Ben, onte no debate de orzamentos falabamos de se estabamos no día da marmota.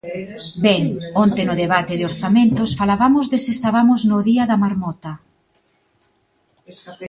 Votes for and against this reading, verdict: 2, 1, accepted